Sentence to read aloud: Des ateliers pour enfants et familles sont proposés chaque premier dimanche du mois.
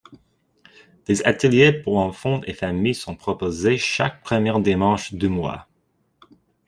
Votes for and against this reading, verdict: 1, 2, rejected